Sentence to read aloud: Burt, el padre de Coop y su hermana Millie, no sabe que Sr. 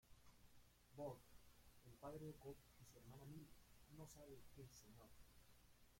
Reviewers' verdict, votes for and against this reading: rejected, 0, 2